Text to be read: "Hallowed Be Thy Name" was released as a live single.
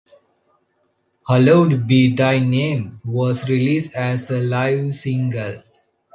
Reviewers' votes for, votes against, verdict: 2, 0, accepted